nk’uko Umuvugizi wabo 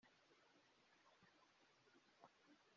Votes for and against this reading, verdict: 0, 2, rejected